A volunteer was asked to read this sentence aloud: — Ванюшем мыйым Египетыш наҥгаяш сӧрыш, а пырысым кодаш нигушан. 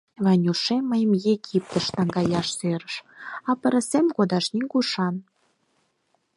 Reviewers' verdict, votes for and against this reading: accepted, 4, 0